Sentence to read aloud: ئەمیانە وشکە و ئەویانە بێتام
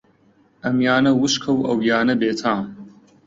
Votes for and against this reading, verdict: 2, 0, accepted